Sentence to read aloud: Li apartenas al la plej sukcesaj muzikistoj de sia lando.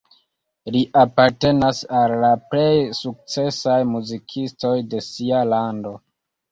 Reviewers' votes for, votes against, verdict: 2, 0, accepted